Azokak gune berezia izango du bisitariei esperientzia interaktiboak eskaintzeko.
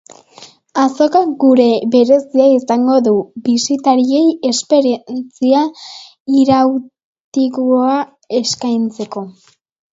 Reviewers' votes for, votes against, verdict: 0, 2, rejected